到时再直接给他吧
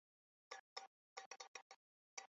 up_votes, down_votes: 0, 2